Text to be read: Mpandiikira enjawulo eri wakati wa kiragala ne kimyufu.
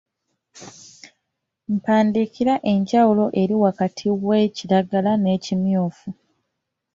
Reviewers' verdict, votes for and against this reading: rejected, 0, 2